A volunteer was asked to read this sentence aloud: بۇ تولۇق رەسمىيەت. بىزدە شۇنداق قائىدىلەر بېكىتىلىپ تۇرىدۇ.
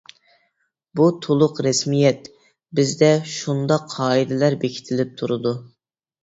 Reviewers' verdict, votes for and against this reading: accepted, 2, 0